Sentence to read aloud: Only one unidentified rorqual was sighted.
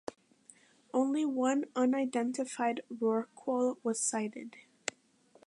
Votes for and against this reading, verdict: 2, 1, accepted